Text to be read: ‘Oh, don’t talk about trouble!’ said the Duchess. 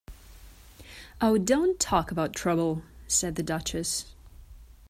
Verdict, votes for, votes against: accepted, 2, 0